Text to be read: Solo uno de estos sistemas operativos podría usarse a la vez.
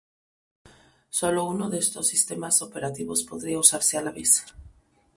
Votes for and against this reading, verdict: 0, 2, rejected